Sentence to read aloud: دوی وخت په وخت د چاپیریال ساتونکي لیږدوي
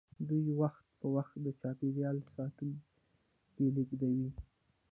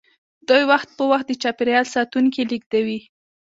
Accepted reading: first